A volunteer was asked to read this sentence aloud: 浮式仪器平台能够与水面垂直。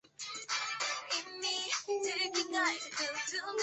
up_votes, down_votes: 0, 2